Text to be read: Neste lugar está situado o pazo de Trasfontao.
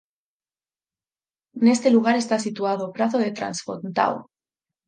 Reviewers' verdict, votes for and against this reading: rejected, 2, 4